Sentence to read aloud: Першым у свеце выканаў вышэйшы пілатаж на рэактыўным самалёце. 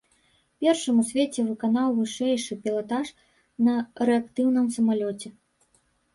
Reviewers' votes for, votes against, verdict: 0, 2, rejected